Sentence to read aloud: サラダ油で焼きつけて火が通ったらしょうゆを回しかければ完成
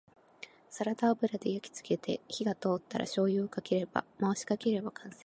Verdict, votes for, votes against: rejected, 0, 2